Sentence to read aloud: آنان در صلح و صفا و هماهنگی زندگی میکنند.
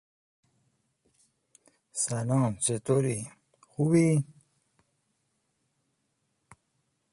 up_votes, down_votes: 0, 2